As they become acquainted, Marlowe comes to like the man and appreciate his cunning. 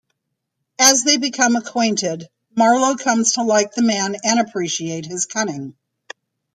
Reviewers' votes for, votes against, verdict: 2, 0, accepted